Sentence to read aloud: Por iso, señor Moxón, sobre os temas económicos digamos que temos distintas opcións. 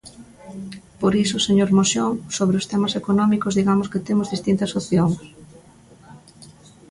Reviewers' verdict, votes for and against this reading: rejected, 1, 2